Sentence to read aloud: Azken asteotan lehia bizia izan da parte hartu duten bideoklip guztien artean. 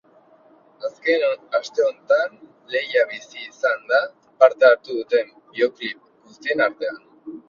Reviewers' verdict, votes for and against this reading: rejected, 1, 3